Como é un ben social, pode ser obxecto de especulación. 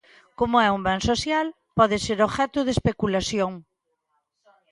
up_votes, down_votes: 1, 2